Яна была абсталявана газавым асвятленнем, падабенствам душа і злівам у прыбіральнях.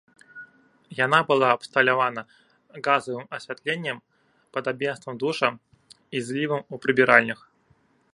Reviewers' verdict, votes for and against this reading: rejected, 1, 2